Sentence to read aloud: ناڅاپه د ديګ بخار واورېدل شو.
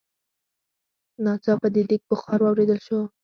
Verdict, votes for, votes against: accepted, 4, 2